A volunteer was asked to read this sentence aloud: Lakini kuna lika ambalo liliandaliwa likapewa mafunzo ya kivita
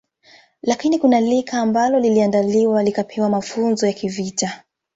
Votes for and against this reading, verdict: 2, 0, accepted